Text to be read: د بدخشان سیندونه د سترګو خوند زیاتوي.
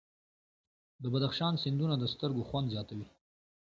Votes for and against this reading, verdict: 2, 1, accepted